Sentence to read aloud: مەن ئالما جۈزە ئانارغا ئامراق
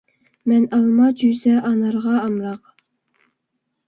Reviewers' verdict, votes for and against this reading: accepted, 2, 0